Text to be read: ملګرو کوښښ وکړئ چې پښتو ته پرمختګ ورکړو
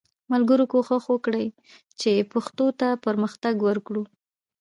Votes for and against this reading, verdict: 1, 2, rejected